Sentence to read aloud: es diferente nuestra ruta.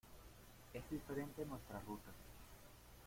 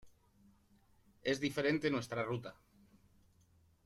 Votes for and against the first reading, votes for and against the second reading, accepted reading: 1, 2, 2, 0, second